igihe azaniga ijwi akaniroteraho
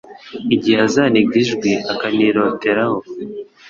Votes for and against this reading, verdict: 3, 0, accepted